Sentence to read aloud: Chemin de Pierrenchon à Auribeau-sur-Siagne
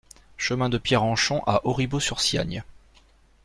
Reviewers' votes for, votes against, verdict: 2, 0, accepted